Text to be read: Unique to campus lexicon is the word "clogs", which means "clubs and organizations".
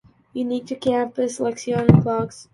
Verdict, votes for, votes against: rejected, 0, 2